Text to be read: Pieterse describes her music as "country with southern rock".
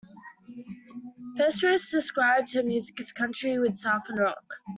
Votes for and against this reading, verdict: 2, 1, accepted